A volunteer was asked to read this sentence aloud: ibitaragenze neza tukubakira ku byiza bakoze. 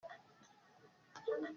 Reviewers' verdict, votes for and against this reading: rejected, 0, 2